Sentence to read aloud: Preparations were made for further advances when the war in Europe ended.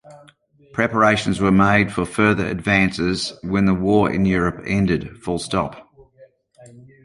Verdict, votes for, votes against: accepted, 2, 0